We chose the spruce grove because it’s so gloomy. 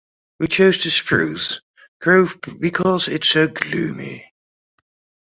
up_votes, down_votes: 0, 2